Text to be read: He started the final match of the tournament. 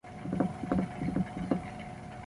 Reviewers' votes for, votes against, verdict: 0, 2, rejected